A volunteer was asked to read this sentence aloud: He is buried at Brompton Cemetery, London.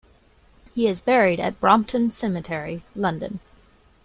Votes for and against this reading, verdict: 2, 0, accepted